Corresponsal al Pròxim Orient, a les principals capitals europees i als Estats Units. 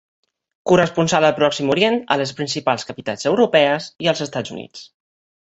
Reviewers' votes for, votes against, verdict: 2, 0, accepted